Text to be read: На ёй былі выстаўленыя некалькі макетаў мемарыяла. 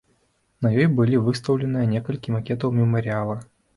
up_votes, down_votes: 1, 2